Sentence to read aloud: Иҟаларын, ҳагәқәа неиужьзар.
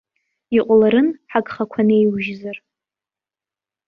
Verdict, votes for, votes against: rejected, 1, 2